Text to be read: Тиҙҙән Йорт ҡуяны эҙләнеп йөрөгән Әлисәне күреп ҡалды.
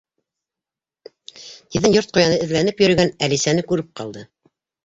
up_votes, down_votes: 0, 2